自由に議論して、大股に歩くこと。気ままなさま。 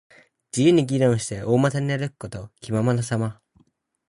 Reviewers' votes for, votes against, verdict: 4, 2, accepted